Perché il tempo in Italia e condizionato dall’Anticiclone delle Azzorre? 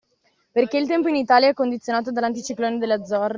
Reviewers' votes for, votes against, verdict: 0, 2, rejected